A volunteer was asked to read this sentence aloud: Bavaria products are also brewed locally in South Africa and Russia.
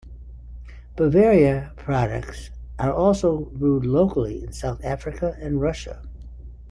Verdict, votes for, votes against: accepted, 2, 0